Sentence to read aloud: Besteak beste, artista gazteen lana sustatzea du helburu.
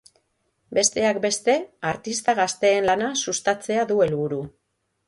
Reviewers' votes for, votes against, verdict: 3, 0, accepted